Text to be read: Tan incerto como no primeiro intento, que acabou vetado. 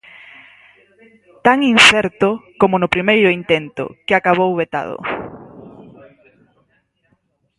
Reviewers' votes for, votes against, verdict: 2, 4, rejected